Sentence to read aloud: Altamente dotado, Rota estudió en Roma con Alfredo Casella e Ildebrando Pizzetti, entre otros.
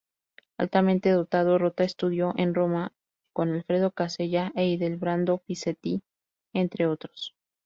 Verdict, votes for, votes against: rejected, 2, 2